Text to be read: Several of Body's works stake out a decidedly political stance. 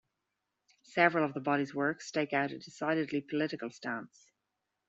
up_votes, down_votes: 0, 2